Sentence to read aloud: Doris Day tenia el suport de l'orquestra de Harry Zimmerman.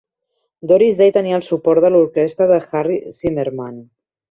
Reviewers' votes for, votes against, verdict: 2, 0, accepted